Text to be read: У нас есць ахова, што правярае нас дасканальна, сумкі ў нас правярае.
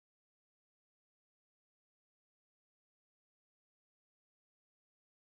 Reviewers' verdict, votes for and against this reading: rejected, 1, 2